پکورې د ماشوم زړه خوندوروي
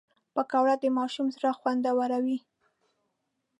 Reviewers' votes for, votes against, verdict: 1, 2, rejected